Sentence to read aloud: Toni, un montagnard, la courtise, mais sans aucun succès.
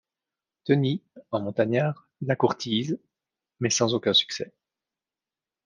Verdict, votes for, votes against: accepted, 2, 0